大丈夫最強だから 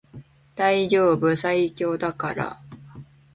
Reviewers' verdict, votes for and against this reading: accepted, 2, 0